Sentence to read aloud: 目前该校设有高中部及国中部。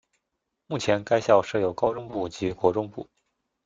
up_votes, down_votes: 2, 0